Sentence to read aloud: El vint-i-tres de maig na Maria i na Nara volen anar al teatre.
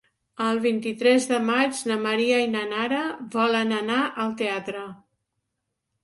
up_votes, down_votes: 3, 0